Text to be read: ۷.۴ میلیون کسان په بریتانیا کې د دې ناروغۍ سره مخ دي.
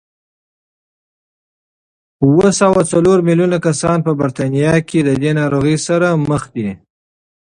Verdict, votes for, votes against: rejected, 0, 2